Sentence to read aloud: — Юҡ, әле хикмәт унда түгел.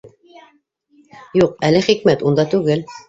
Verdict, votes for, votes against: rejected, 0, 2